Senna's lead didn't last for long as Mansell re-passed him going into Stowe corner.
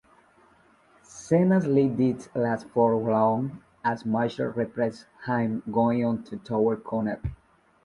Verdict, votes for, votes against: rejected, 0, 2